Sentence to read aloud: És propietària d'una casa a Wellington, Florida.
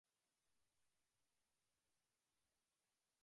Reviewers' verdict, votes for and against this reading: rejected, 0, 2